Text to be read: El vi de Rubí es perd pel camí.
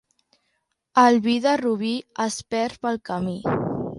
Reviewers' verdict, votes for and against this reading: accepted, 2, 1